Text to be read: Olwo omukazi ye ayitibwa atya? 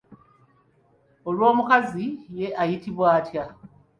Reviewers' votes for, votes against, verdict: 2, 1, accepted